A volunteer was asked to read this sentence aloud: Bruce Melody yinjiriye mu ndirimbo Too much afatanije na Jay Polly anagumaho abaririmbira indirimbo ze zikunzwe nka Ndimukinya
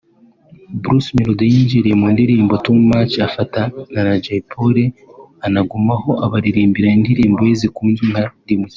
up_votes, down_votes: 1, 2